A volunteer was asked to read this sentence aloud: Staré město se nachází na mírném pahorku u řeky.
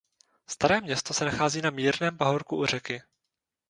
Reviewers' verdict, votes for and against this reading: rejected, 2, 2